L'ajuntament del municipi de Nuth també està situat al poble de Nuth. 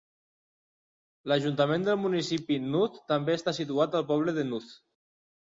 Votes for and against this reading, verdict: 0, 2, rejected